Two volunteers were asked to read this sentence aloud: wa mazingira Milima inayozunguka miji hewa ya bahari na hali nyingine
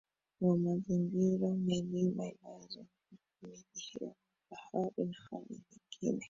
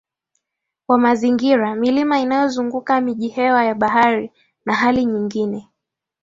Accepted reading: second